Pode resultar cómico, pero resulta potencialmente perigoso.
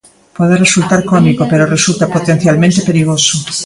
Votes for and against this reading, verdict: 0, 2, rejected